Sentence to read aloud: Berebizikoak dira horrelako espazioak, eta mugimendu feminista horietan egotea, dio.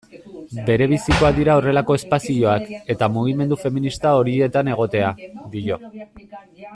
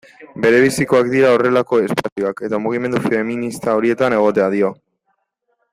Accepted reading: second